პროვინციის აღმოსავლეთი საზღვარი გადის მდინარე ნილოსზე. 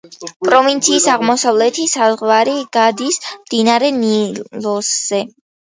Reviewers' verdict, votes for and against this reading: rejected, 1, 2